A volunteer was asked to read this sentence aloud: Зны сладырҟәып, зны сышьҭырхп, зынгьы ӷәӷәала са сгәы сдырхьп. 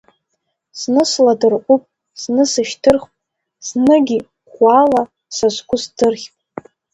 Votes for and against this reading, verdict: 1, 2, rejected